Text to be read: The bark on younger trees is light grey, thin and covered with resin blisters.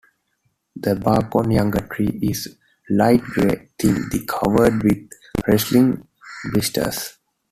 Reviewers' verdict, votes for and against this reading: rejected, 0, 2